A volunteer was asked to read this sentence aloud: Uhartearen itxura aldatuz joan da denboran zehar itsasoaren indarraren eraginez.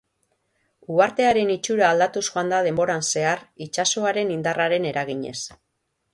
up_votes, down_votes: 3, 0